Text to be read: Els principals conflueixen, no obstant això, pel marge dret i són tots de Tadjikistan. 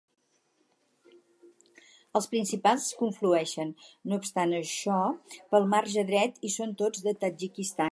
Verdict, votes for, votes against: rejected, 2, 4